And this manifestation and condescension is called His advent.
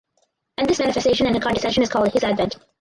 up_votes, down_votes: 0, 4